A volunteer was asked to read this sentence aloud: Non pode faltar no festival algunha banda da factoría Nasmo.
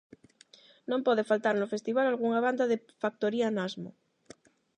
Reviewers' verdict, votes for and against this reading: rejected, 0, 8